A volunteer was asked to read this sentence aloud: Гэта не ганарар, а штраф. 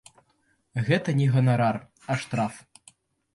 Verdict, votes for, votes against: accepted, 2, 0